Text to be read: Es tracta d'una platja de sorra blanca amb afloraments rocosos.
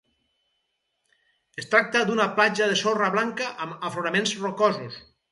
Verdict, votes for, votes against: accepted, 4, 0